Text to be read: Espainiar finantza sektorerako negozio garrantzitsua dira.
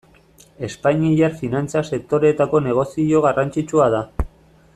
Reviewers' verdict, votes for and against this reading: rejected, 0, 2